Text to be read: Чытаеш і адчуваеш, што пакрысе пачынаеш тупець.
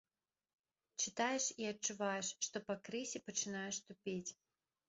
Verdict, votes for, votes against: rejected, 1, 2